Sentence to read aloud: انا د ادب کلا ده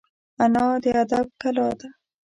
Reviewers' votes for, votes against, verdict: 2, 0, accepted